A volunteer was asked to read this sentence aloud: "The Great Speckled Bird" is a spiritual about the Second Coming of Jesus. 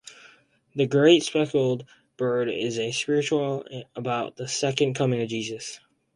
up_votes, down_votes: 2, 0